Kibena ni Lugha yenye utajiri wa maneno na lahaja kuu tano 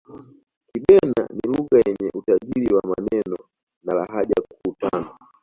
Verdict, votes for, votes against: rejected, 0, 2